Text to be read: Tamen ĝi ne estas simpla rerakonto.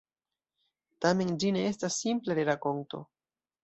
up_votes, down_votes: 2, 0